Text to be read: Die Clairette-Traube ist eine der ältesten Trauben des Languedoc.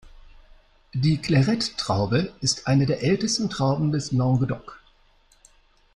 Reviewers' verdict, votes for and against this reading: accepted, 2, 0